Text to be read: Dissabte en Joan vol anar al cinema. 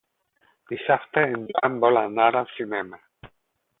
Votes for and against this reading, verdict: 0, 4, rejected